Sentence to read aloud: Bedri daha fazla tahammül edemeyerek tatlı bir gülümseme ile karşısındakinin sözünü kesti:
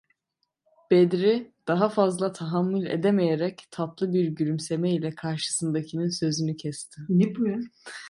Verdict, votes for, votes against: rejected, 1, 2